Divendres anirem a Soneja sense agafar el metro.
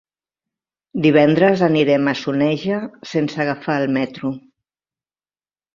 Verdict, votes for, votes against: accepted, 2, 0